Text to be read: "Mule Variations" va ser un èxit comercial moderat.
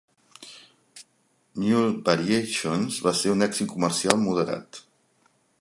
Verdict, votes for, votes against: accepted, 2, 0